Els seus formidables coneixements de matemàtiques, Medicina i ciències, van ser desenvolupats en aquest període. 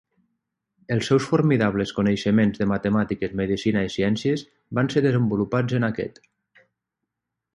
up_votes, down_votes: 0, 3